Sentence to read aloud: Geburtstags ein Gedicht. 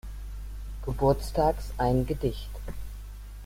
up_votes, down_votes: 2, 1